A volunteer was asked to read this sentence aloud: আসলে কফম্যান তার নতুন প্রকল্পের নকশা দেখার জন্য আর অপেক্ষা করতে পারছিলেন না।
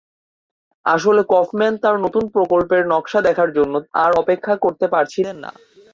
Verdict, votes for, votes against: accepted, 6, 0